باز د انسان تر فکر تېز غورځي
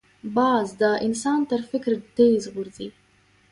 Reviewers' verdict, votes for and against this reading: rejected, 1, 2